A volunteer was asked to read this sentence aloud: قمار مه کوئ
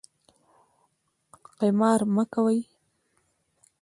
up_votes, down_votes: 2, 0